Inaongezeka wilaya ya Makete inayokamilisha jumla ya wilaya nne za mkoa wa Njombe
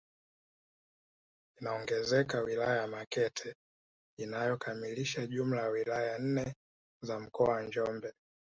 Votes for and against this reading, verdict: 2, 0, accepted